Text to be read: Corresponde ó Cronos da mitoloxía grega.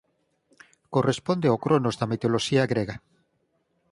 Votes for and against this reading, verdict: 4, 0, accepted